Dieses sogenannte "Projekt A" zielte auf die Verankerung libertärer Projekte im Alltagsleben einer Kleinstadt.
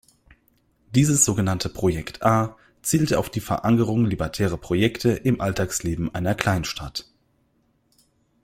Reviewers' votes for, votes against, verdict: 0, 2, rejected